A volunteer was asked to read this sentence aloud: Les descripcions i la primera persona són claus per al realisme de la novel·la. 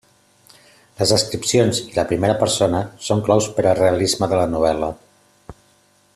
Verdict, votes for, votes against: accepted, 2, 0